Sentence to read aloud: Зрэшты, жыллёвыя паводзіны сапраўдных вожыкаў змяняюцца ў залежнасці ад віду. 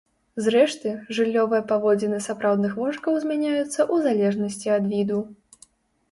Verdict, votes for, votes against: rejected, 0, 2